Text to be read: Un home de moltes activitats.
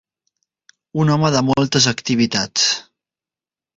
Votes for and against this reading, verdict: 2, 0, accepted